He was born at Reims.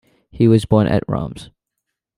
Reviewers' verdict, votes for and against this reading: accepted, 2, 0